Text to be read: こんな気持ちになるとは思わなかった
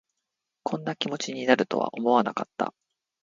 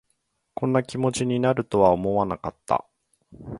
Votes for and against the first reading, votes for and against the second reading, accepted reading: 1, 2, 2, 0, second